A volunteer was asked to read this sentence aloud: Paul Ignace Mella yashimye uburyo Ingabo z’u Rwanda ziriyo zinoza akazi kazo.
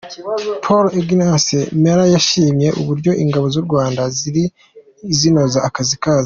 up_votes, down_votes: 1, 2